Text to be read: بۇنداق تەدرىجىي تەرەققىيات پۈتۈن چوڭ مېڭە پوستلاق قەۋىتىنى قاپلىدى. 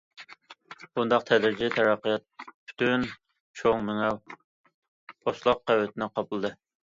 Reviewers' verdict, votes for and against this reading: rejected, 1, 2